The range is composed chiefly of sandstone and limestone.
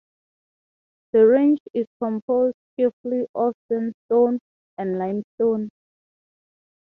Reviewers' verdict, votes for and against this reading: accepted, 3, 0